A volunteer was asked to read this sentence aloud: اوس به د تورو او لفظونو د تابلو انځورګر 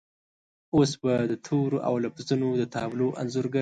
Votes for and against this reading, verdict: 2, 0, accepted